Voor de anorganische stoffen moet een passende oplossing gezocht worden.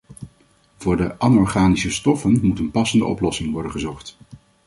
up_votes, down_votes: 1, 2